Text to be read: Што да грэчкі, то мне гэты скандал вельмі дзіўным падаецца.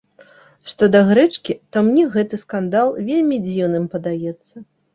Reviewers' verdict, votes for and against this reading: accepted, 3, 0